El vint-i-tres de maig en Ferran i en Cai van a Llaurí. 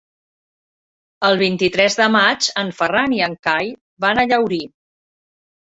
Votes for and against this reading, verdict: 8, 0, accepted